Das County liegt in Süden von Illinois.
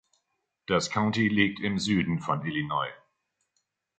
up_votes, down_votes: 1, 2